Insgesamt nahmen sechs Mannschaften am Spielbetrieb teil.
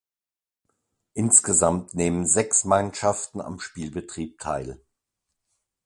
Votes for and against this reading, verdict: 0, 2, rejected